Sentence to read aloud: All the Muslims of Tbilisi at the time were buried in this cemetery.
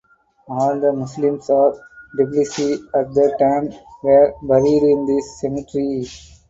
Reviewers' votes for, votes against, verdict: 4, 2, accepted